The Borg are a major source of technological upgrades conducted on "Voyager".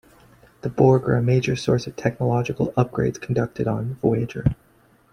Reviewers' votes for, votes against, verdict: 1, 2, rejected